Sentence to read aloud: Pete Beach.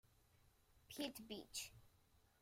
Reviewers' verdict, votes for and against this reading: rejected, 1, 2